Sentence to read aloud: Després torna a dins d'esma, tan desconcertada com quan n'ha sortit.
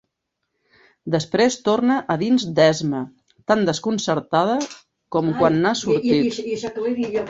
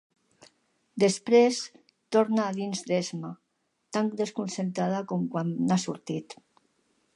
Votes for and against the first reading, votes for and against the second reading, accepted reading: 1, 2, 2, 1, second